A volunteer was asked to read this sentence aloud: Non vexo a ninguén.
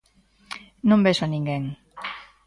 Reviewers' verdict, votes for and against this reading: accepted, 2, 0